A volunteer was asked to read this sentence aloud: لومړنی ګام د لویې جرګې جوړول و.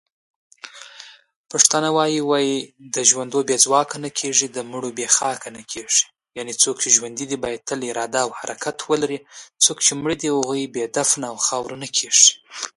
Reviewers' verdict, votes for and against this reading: rejected, 1, 2